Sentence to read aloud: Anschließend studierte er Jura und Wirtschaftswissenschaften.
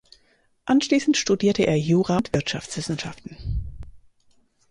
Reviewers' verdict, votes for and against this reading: rejected, 2, 4